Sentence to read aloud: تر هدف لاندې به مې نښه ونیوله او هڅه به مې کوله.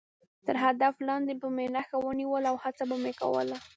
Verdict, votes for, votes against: rejected, 1, 2